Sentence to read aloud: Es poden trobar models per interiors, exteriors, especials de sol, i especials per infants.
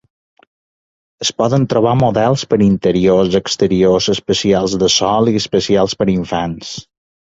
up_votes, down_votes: 2, 0